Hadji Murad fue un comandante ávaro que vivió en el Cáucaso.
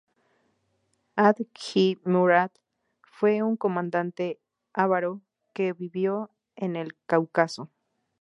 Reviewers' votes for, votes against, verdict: 0, 2, rejected